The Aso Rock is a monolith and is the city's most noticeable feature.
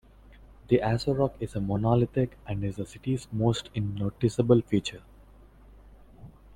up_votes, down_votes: 1, 2